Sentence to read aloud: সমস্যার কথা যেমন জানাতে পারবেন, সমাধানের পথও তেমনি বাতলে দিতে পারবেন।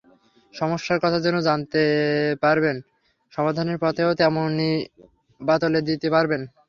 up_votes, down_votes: 0, 3